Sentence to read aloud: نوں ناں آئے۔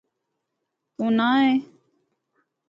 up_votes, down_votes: 0, 2